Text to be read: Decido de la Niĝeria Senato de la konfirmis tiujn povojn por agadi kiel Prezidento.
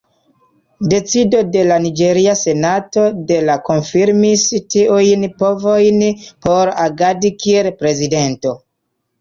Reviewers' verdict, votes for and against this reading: accepted, 2, 0